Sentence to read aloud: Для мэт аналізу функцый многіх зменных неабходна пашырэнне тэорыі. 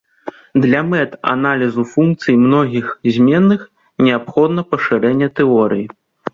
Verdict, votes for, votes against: accepted, 2, 0